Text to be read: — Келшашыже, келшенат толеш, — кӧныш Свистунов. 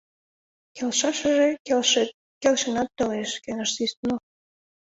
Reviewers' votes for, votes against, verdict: 0, 2, rejected